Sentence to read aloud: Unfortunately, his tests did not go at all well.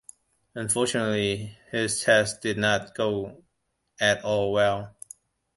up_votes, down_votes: 2, 0